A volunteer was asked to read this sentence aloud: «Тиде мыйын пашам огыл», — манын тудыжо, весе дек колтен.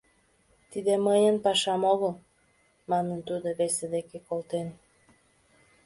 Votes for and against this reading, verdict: 2, 1, accepted